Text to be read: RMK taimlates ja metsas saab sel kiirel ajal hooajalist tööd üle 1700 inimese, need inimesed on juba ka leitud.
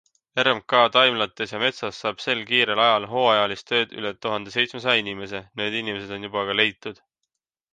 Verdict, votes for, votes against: rejected, 0, 2